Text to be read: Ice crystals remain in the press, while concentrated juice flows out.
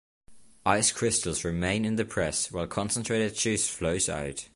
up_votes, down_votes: 2, 0